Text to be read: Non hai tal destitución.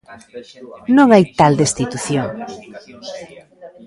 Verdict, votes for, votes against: rejected, 0, 2